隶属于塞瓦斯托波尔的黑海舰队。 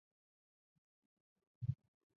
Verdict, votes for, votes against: rejected, 1, 2